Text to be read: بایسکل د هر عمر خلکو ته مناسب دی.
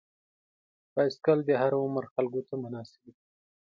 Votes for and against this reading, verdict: 2, 0, accepted